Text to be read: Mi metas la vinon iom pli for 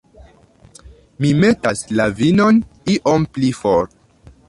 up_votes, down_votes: 2, 0